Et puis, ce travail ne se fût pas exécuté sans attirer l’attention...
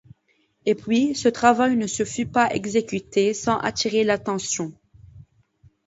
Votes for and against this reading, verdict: 2, 0, accepted